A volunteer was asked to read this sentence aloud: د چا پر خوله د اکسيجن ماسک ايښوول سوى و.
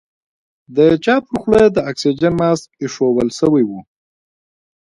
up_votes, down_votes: 2, 1